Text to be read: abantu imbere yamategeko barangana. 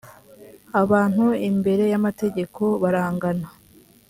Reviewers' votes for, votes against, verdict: 3, 0, accepted